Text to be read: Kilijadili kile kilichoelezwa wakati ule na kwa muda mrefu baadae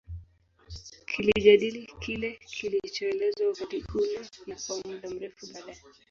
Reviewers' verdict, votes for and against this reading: rejected, 0, 2